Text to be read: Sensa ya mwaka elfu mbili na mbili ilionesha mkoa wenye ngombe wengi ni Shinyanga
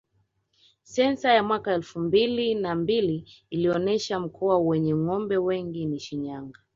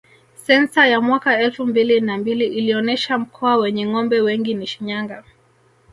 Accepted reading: first